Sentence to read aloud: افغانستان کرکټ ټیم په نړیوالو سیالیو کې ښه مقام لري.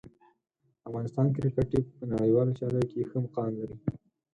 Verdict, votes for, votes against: accepted, 4, 0